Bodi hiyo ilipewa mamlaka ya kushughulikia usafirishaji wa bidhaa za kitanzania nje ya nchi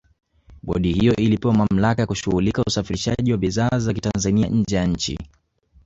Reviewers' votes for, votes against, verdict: 1, 3, rejected